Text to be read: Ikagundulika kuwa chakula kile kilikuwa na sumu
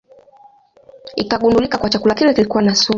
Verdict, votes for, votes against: accepted, 2, 0